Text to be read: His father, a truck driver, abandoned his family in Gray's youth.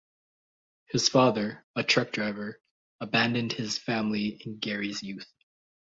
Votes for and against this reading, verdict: 1, 2, rejected